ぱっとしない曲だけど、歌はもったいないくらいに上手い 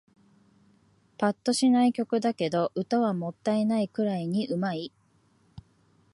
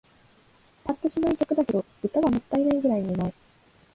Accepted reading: first